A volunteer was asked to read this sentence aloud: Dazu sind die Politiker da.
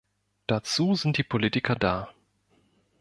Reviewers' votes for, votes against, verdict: 2, 0, accepted